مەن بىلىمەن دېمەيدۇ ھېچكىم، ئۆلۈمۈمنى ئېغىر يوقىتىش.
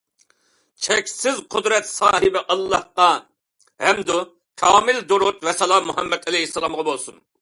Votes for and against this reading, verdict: 0, 2, rejected